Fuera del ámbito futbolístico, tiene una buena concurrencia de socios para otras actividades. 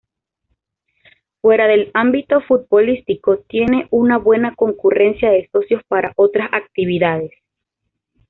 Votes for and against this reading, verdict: 2, 0, accepted